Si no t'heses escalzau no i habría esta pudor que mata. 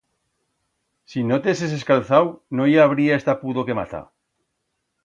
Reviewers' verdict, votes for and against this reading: accepted, 2, 0